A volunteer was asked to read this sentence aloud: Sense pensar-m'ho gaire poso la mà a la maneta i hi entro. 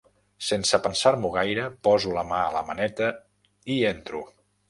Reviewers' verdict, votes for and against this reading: rejected, 1, 2